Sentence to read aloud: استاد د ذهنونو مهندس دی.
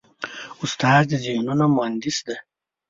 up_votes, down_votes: 2, 0